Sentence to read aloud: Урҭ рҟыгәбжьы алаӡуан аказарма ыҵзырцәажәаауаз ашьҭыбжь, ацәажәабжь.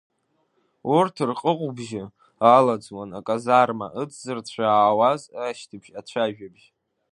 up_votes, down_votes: 1, 2